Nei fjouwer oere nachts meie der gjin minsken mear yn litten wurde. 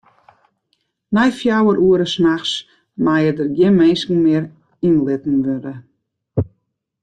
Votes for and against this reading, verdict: 0, 2, rejected